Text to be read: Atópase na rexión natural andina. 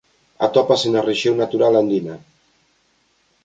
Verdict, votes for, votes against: accepted, 2, 0